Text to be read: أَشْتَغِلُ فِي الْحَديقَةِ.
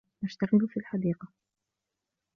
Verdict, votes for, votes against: accepted, 2, 0